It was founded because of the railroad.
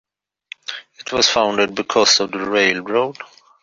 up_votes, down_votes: 2, 0